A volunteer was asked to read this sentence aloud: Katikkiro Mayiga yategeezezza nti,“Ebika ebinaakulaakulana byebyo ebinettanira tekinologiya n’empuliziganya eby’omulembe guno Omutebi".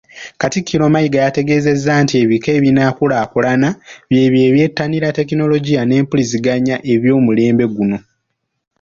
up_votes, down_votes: 0, 2